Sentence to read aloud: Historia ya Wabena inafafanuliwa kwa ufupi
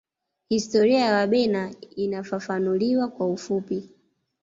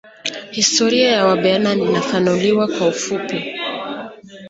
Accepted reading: first